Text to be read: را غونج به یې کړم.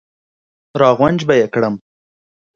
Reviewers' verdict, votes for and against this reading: accepted, 2, 0